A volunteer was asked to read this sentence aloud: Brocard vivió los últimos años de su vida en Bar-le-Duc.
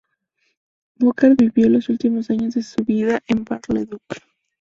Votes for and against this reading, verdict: 0, 2, rejected